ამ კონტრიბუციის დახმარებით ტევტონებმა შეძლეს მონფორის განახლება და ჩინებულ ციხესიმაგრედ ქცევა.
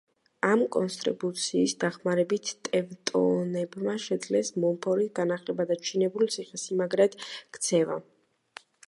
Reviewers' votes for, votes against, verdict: 0, 2, rejected